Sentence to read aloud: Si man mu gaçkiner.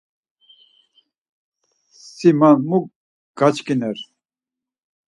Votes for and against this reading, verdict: 4, 0, accepted